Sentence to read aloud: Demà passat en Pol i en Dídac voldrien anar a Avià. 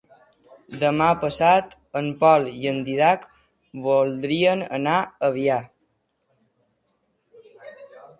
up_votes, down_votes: 3, 0